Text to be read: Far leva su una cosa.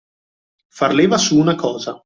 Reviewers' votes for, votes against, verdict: 2, 0, accepted